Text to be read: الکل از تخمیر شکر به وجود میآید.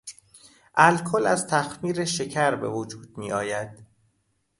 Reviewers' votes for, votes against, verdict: 2, 0, accepted